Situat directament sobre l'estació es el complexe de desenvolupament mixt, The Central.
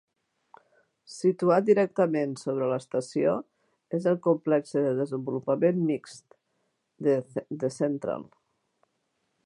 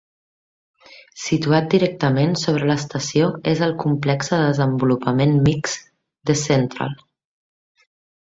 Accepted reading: second